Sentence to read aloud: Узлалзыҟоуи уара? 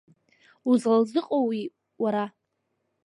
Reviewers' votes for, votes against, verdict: 2, 1, accepted